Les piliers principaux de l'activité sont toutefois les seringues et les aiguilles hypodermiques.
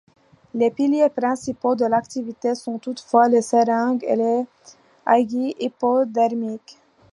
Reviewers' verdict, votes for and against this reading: accepted, 2, 0